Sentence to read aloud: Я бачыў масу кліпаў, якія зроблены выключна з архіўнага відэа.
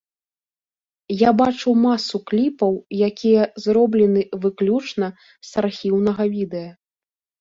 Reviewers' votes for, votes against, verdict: 2, 0, accepted